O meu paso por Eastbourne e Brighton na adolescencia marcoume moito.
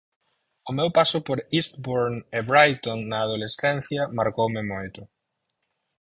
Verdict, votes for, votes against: accepted, 4, 2